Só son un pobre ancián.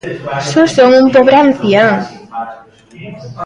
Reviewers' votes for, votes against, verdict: 0, 2, rejected